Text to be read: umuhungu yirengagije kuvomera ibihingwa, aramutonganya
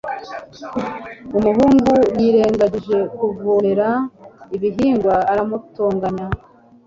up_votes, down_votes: 2, 3